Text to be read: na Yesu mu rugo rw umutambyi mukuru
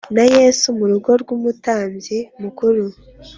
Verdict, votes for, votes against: accepted, 2, 0